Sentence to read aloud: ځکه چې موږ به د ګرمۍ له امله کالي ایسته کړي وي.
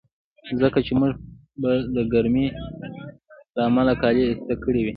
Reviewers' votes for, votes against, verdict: 1, 2, rejected